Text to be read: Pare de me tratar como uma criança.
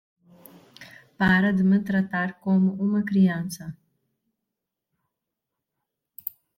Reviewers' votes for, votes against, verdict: 1, 2, rejected